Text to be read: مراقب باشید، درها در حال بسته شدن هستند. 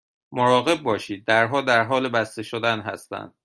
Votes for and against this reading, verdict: 2, 0, accepted